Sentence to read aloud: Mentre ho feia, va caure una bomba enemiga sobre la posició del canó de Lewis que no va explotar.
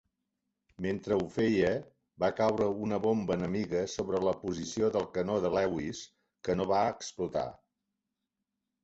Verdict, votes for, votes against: accepted, 3, 0